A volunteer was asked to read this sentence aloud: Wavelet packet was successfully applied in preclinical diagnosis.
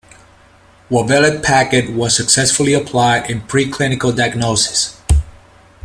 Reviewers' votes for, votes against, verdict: 1, 2, rejected